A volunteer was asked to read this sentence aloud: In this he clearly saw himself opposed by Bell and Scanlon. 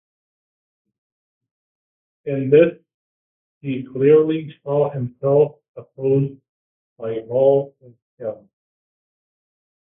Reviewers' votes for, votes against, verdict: 0, 2, rejected